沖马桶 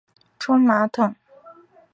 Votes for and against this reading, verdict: 0, 2, rejected